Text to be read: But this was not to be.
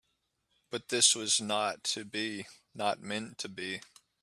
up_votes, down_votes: 0, 2